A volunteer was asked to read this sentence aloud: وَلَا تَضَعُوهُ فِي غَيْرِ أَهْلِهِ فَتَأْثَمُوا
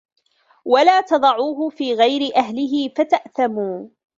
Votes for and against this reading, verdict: 0, 2, rejected